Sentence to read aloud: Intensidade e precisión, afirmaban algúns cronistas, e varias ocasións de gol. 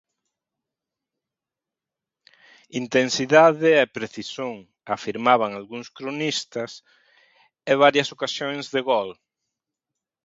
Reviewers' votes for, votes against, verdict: 1, 2, rejected